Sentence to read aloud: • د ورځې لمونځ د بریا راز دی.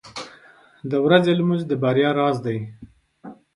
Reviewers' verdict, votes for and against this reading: accepted, 2, 0